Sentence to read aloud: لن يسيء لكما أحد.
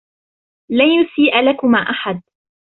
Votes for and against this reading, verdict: 0, 2, rejected